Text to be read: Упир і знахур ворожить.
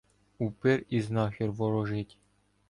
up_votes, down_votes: 1, 2